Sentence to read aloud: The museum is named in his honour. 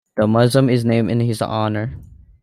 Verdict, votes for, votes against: rejected, 0, 2